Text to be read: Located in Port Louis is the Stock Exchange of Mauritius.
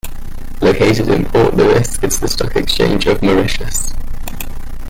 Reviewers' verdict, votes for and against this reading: rejected, 0, 2